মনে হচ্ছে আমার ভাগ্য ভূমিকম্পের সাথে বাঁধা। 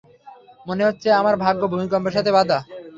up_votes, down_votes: 3, 0